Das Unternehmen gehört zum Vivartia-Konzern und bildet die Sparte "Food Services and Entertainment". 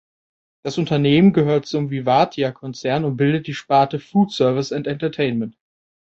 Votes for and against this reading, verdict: 2, 0, accepted